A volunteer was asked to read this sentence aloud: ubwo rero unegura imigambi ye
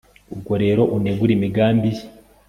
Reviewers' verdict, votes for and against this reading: accepted, 2, 0